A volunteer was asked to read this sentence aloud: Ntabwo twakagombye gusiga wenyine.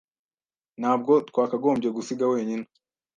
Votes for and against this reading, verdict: 2, 0, accepted